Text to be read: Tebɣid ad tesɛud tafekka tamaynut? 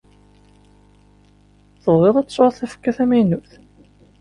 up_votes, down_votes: 2, 0